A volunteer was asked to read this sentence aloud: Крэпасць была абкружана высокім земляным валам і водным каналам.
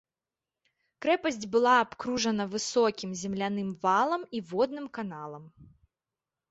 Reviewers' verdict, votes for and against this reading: accepted, 2, 0